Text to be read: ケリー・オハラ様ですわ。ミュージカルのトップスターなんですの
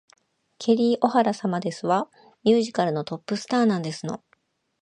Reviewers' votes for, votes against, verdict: 2, 0, accepted